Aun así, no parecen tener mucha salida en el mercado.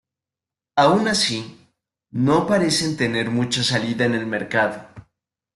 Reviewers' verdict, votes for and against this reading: accepted, 2, 0